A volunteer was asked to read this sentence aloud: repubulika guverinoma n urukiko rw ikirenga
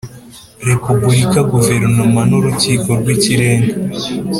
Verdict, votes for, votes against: accepted, 2, 0